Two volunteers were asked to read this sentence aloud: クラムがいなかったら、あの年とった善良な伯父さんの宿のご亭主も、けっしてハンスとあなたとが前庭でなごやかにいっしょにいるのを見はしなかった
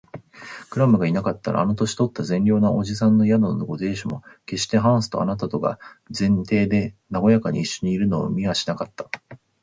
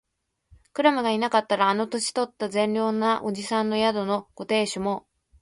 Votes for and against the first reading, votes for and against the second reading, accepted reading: 3, 0, 0, 2, first